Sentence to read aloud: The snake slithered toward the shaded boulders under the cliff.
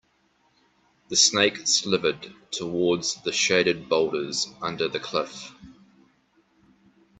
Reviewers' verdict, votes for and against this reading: rejected, 0, 2